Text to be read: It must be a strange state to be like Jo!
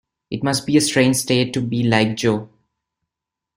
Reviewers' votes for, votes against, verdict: 2, 0, accepted